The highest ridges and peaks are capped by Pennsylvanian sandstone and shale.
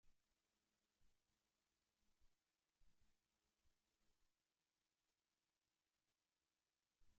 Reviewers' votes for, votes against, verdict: 0, 2, rejected